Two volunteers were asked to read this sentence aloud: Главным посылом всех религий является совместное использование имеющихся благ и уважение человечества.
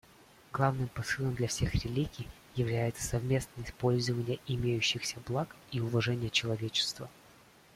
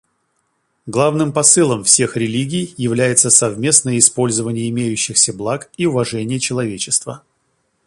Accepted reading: second